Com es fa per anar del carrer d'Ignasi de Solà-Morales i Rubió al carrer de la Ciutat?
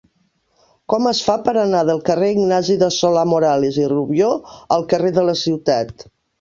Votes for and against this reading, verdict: 1, 2, rejected